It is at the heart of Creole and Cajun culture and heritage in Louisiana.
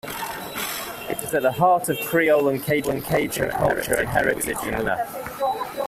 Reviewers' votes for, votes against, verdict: 0, 2, rejected